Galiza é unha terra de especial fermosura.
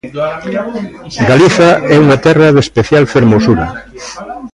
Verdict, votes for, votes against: rejected, 1, 2